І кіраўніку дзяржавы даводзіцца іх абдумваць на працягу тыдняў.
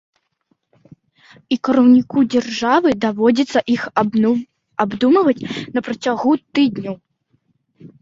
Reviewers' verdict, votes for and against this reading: rejected, 0, 2